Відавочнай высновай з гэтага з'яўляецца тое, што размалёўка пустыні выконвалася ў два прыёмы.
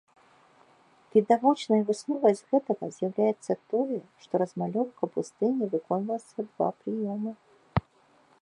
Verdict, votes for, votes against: rejected, 1, 2